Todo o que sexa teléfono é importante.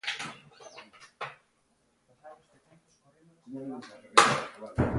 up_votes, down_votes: 0, 2